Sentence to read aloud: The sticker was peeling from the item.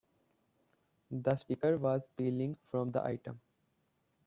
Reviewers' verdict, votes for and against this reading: rejected, 1, 2